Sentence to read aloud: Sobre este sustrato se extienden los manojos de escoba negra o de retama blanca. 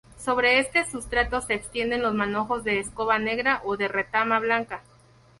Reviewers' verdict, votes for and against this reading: rejected, 2, 2